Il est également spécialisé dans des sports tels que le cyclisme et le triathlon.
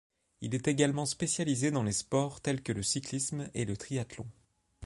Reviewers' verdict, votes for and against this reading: rejected, 2, 3